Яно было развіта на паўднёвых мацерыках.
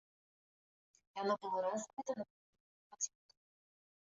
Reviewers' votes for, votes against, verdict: 0, 2, rejected